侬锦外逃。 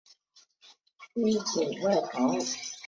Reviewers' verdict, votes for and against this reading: accepted, 2, 0